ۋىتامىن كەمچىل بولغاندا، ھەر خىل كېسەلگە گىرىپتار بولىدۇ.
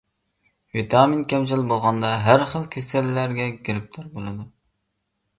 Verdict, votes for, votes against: rejected, 0, 2